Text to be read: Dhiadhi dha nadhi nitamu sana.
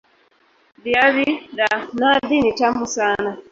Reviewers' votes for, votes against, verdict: 0, 2, rejected